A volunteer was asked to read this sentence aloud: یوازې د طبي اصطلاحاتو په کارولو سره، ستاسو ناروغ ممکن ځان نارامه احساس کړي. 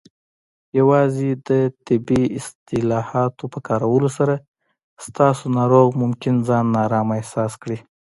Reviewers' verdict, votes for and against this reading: accepted, 2, 0